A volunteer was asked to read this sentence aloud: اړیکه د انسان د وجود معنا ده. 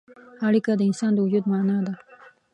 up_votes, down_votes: 1, 2